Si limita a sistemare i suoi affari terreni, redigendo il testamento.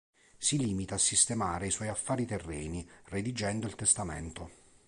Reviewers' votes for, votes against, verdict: 3, 0, accepted